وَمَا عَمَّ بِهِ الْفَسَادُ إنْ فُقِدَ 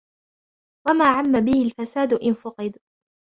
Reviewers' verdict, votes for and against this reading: accepted, 2, 0